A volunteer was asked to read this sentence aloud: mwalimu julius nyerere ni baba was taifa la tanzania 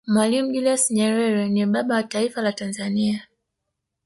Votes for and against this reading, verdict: 1, 2, rejected